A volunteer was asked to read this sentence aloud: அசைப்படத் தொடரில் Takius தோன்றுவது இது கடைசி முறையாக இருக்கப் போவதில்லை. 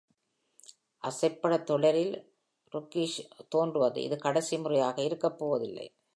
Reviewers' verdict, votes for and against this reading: accepted, 2, 0